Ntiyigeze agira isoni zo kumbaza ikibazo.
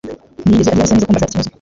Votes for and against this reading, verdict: 1, 3, rejected